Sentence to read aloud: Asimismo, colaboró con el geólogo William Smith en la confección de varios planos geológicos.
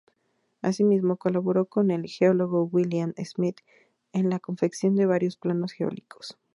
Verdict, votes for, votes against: accepted, 2, 0